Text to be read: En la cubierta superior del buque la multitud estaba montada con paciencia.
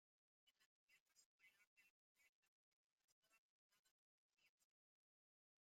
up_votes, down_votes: 0, 2